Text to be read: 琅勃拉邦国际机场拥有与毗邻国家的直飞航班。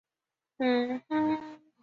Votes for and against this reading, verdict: 0, 2, rejected